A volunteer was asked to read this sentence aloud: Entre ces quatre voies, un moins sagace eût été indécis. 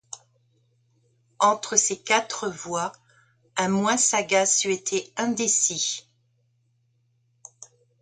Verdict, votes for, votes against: accepted, 2, 0